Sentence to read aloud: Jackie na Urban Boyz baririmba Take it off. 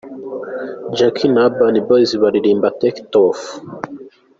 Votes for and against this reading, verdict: 2, 0, accepted